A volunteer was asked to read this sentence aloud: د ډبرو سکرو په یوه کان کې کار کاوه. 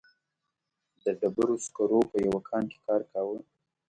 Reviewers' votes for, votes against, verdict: 2, 0, accepted